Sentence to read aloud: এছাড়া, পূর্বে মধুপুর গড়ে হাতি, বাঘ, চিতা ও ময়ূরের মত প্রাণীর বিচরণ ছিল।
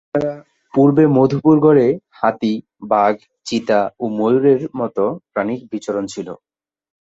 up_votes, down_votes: 4, 0